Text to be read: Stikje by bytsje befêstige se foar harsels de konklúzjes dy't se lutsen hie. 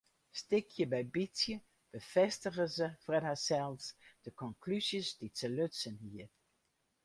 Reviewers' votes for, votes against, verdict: 0, 2, rejected